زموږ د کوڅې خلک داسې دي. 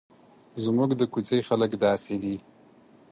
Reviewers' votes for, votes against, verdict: 4, 0, accepted